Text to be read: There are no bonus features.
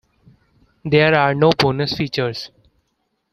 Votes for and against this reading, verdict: 2, 0, accepted